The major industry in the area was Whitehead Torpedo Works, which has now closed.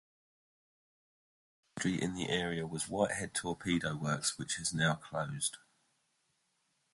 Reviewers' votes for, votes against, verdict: 0, 2, rejected